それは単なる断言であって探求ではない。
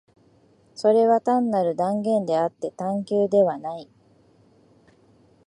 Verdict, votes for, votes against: accepted, 2, 0